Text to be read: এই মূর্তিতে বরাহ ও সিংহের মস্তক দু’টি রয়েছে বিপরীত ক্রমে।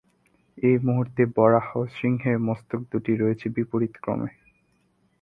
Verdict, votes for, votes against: rejected, 0, 3